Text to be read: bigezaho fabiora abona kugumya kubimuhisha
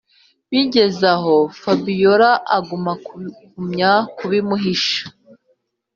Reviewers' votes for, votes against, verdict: 0, 2, rejected